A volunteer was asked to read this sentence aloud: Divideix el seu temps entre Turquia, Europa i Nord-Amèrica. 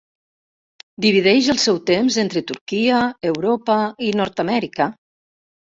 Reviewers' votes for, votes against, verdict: 3, 0, accepted